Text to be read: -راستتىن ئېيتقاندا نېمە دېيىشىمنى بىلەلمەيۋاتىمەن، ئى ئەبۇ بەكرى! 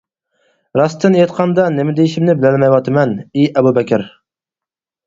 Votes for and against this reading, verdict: 0, 4, rejected